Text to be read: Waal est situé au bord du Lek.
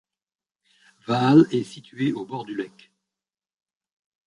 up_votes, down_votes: 0, 2